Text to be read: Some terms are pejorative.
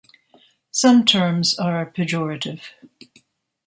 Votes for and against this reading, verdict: 2, 0, accepted